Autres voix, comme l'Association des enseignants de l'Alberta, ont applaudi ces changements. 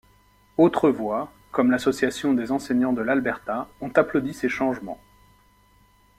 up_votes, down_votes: 2, 0